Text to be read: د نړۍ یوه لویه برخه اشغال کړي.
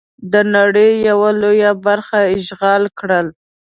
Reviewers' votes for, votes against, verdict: 1, 2, rejected